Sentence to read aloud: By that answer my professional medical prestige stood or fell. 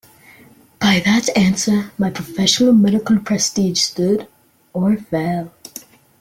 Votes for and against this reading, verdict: 2, 0, accepted